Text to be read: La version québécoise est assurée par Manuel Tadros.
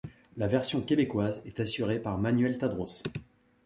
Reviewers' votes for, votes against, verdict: 2, 0, accepted